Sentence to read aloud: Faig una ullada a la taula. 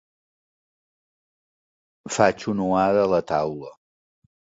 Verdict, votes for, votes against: rejected, 1, 2